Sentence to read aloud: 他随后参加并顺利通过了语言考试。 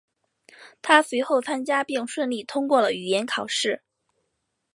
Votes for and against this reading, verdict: 5, 0, accepted